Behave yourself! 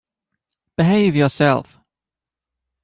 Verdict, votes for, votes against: accepted, 2, 0